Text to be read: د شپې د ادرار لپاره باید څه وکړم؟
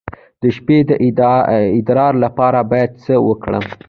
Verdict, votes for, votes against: rejected, 0, 2